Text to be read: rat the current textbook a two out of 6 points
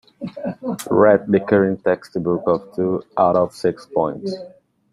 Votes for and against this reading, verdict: 0, 2, rejected